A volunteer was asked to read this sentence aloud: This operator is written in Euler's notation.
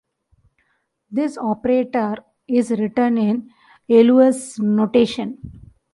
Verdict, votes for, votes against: rejected, 1, 2